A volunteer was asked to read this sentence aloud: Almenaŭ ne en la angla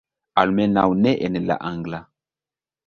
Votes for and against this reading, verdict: 0, 2, rejected